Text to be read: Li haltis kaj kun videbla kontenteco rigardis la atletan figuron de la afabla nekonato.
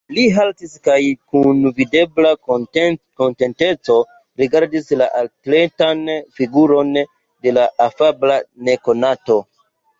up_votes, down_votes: 2, 1